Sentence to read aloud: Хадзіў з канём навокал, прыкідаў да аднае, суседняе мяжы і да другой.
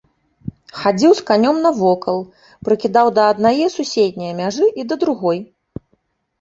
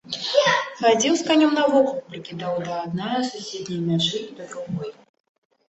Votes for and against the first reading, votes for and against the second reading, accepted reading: 2, 0, 0, 2, first